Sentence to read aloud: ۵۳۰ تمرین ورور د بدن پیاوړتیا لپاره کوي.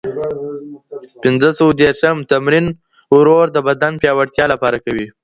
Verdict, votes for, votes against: rejected, 0, 2